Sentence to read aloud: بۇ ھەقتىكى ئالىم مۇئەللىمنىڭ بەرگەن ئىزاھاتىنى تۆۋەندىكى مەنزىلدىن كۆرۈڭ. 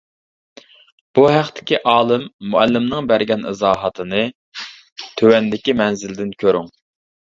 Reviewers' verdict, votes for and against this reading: accepted, 2, 0